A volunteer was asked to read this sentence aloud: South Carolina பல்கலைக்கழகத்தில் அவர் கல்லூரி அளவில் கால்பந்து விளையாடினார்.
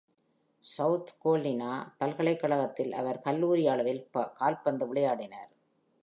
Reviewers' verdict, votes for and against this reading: accepted, 2, 0